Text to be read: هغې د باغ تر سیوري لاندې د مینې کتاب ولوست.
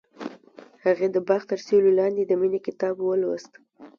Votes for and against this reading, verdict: 2, 0, accepted